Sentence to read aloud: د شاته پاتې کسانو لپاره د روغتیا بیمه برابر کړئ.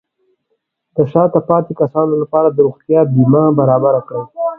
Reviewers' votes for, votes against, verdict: 4, 1, accepted